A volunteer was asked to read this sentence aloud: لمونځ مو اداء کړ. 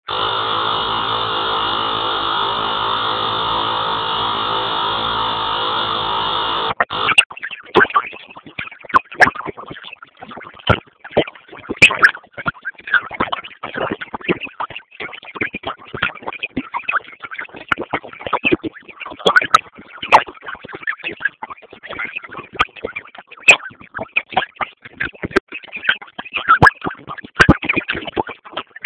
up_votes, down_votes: 0, 6